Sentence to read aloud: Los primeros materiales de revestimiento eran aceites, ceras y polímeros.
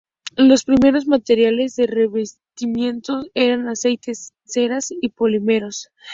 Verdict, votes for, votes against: accepted, 4, 0